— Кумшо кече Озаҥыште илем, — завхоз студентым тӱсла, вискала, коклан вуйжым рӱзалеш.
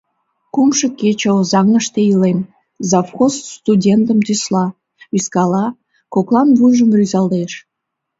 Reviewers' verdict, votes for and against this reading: rejected, 1, 2